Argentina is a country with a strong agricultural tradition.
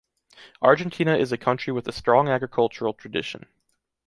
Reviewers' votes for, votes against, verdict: 2, 0, accepted